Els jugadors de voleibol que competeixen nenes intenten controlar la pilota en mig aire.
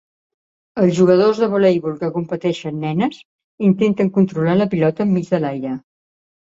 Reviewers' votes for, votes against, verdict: 0, 2, rejected